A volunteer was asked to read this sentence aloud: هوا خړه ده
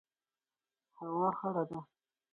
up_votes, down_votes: 4, 2